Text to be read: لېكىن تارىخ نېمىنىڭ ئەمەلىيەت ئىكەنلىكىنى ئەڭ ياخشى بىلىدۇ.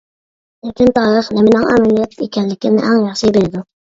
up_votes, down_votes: 0, 2